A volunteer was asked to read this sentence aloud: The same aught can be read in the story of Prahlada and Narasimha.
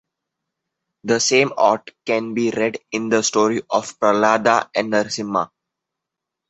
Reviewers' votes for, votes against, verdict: 2, 0, accepted